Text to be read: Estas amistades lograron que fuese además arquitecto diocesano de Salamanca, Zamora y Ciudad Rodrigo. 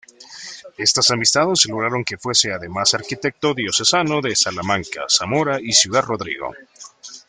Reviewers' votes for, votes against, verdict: 2, 1, accepted